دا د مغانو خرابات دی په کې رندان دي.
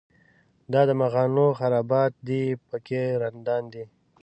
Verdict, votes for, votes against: rejected, 1, 2